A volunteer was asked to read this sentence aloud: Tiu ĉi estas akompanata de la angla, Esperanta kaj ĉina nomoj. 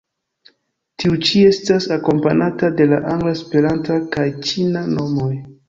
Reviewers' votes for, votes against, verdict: 3, 4, rejected